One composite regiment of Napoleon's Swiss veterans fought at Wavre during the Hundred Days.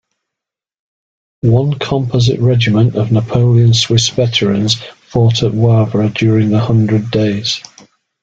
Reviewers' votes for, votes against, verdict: 0, 2, rejected